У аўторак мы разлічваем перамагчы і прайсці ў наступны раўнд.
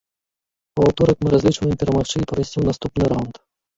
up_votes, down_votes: 0, 2